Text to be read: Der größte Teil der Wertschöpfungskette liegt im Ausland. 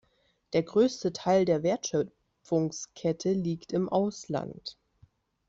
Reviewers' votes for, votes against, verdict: 1, 2, rejected